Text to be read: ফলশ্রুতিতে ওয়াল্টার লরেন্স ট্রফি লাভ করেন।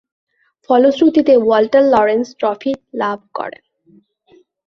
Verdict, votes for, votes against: accepted, 2, 0